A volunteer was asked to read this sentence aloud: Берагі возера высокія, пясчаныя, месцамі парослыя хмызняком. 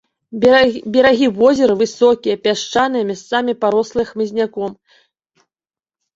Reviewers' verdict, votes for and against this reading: rejected, 1, 2